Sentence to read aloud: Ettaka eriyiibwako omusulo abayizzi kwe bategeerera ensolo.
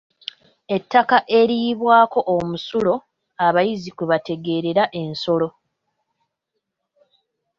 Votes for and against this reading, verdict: 2, 0, accepted